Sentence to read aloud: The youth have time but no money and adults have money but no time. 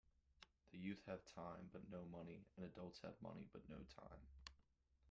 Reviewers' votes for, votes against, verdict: 0, 2, rejected